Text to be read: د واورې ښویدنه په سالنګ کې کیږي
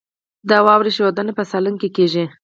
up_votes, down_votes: 4, 2